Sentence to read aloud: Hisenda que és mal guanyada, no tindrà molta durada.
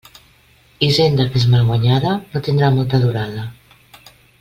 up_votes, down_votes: 2, 0